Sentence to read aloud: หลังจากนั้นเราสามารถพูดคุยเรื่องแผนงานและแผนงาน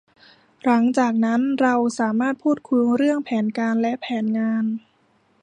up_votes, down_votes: 0, 2